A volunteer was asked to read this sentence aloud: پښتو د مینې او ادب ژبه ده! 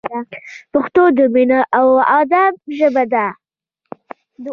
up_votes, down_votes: 2, 0